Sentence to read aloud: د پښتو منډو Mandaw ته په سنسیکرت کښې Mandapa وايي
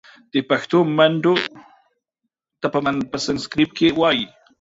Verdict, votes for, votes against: rejected, 0, 2